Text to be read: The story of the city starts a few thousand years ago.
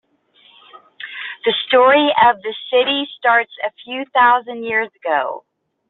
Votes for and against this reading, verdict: 2, 0, accepted